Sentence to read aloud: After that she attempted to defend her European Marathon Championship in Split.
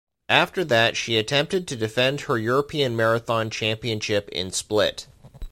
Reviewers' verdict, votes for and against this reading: accepted, 2, 0